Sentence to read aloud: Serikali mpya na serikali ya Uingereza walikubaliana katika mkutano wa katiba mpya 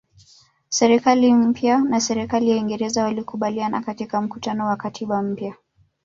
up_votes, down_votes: 1, 2